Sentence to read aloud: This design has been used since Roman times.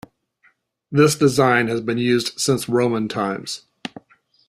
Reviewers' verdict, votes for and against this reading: accepted, 3, 0